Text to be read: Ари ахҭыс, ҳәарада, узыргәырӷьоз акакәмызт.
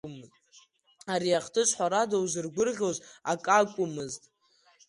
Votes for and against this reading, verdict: 2, 1, accepted